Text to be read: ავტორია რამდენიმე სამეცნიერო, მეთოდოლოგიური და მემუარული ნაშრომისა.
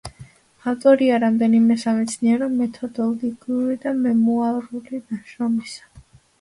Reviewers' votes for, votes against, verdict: 1, 2, rejected